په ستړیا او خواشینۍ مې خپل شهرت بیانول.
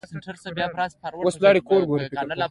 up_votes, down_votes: 2, 1